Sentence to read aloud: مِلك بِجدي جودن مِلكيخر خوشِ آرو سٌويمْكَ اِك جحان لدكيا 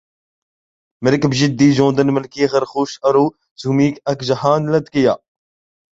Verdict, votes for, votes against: rejected, 1, 2